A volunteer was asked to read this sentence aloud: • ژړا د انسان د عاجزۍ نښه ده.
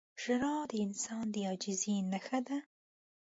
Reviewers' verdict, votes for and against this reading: accepted, 2, 0